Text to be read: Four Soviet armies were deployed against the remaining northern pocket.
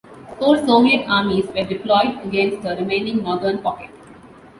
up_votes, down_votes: 2, 0